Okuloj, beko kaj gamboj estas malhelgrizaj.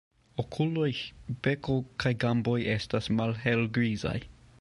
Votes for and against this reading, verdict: 2, 1, accepted